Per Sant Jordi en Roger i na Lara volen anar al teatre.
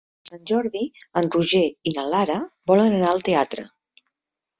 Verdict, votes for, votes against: rejected, 1, 2